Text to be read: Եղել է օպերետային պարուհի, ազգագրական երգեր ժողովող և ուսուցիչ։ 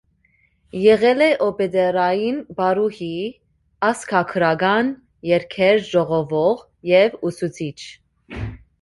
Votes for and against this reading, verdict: 1, 2, rejected